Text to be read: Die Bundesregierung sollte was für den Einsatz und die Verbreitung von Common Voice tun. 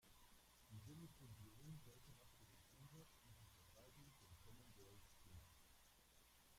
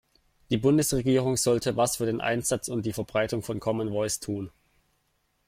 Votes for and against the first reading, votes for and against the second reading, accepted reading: 1, 2, 2, 0, second